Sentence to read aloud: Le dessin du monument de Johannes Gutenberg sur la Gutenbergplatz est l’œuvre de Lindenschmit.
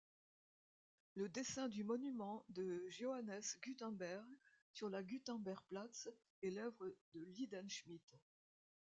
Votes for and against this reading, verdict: 3, 2, accepted